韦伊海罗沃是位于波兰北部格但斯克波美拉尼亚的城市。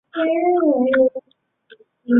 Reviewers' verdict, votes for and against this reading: rejected, 0, 2